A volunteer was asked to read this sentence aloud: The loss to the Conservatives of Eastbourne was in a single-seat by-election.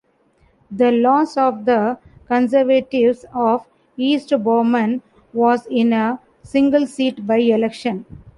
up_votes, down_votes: 1, 2